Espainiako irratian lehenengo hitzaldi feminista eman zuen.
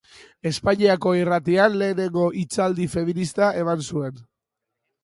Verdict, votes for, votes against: accepted, 2, 0